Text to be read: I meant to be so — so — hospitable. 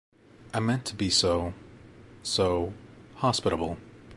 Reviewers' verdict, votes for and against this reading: accepted, 2, 0